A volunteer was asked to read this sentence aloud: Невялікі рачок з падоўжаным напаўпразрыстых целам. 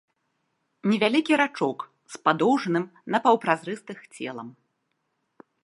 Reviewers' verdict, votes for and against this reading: accepted, 2, 1